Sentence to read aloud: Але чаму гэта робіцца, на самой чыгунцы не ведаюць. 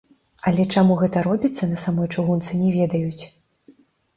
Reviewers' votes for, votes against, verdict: 2, 0, accepted